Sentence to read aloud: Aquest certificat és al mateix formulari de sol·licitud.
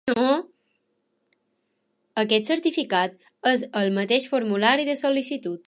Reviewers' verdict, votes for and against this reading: rejected, 0, 2